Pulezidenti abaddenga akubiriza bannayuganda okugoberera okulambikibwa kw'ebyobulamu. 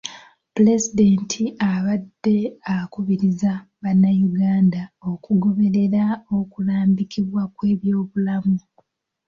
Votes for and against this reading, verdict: 1, 2, rejected